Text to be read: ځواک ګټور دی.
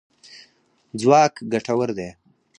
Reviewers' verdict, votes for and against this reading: rejected, 0, 4